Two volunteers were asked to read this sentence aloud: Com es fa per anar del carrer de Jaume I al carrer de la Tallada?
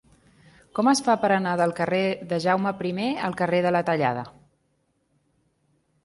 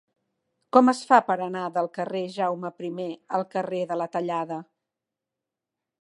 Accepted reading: first